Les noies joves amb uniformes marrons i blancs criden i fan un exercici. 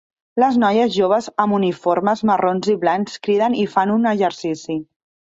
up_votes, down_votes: 3, 0